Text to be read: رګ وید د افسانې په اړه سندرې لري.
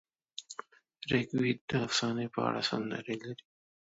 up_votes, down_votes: 2, 0